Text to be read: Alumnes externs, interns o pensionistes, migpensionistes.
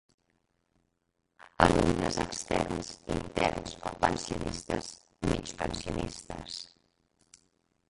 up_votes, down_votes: 0, 3